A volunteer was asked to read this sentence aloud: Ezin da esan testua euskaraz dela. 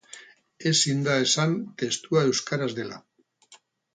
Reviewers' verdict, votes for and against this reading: accepted, 4, 0